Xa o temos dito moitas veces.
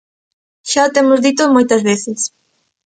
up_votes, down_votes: 2, 0